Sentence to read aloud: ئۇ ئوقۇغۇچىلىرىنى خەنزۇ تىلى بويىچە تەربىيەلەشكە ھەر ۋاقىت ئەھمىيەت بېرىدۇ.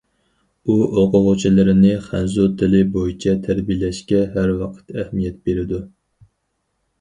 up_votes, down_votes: 4, 0